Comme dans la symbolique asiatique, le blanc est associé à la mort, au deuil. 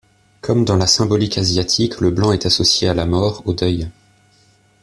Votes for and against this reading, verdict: 2, 0, accepted